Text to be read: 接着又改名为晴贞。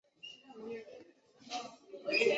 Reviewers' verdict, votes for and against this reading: rejected, 0, 2